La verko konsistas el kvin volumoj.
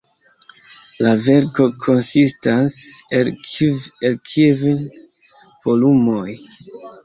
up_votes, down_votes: 1, 2